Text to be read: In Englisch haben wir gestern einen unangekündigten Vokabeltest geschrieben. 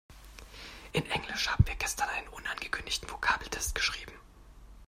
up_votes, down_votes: 2, 0